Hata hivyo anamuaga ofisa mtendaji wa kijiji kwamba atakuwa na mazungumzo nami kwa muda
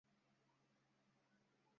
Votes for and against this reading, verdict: 0, 2, rejected